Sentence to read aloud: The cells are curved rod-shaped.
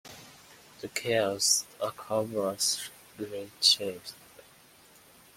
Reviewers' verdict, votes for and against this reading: rejected, 1, 2